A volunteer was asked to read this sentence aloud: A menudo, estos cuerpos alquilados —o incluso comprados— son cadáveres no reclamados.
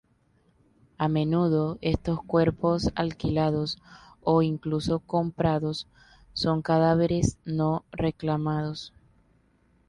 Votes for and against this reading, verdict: 2, 0, accepted